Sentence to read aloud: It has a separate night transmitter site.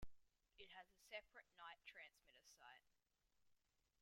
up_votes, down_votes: 2, 0